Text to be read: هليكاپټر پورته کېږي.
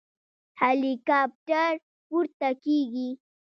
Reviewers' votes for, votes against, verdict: 1, 2, rejected